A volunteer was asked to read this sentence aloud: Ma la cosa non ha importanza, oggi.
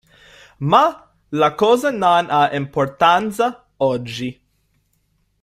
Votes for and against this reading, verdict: 1, 2, rejected